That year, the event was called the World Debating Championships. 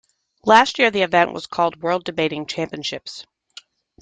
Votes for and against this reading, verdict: 2, 0, accepted